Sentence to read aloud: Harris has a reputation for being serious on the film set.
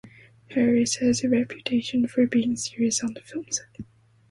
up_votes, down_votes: 2, 1